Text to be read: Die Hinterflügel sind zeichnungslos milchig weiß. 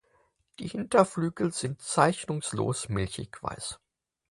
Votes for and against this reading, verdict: 4, 0, accepted